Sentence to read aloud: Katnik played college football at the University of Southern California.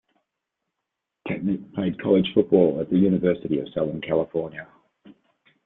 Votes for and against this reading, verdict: 2, 0, accepted